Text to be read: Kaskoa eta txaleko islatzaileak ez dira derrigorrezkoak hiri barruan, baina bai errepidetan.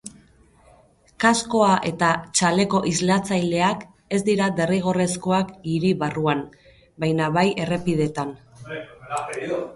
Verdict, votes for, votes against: rejected, 0, 4